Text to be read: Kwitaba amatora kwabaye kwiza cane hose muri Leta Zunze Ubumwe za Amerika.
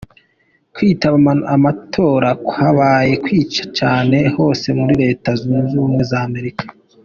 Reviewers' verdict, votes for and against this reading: rejected, 0, 2